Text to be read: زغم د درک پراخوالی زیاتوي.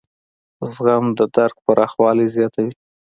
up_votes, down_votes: 2, 0